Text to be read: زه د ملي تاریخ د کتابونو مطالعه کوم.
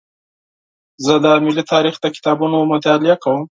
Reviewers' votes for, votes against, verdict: 4, 0, accepted